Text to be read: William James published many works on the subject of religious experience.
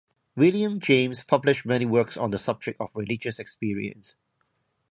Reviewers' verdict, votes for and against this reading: accepted, 2, 0